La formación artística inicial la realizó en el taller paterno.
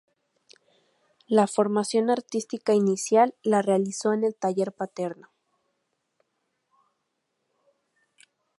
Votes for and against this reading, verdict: 2, 0, accepted